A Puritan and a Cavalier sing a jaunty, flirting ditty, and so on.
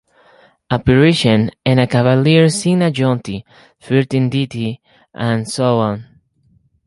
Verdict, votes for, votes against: rejected, 0, 2